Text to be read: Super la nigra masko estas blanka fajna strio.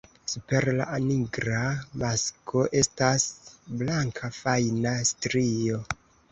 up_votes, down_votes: 2, 0